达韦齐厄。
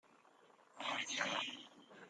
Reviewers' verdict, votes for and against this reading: rejected, 1, 2